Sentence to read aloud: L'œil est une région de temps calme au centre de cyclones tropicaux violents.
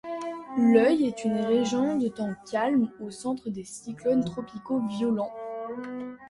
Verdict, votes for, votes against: accepted, 2, 1